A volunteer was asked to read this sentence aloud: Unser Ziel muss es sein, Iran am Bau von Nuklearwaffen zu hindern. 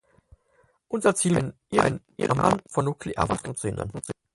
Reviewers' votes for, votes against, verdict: 0, 4, rejected